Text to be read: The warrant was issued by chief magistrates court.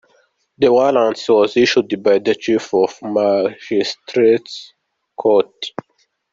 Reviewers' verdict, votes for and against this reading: rejected, 1, 2